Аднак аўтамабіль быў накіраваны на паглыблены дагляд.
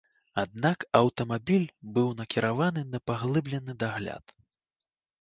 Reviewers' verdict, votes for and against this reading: accepted, 2, 0